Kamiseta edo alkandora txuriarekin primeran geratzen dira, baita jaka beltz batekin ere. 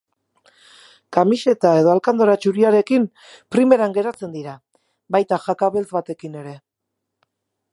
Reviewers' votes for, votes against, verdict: 2, 2, rejected